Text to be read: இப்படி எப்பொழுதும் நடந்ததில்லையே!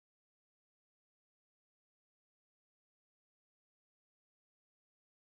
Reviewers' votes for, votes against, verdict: 1, 2, rejected